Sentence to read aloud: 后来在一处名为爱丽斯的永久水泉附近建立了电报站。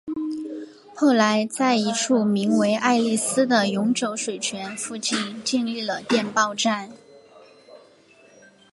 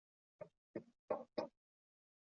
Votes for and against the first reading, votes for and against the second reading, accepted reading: 2, 0, 0, 2, first